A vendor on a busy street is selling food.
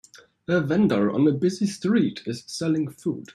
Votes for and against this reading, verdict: 2, 0, accepted